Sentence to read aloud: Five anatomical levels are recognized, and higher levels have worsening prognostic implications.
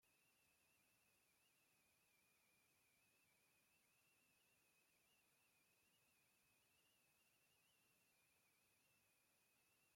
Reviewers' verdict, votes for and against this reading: rejected, 0, 2